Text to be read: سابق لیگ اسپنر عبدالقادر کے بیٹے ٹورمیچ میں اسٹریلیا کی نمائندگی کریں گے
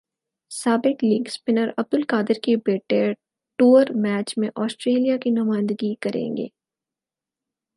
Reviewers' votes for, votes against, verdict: 4, 0, accepted